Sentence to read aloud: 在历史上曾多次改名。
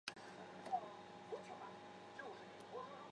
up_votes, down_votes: 1, 3